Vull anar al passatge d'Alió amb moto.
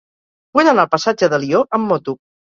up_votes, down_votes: 4, 0